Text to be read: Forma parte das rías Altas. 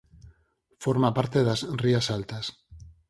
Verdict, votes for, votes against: accepted, 4, 2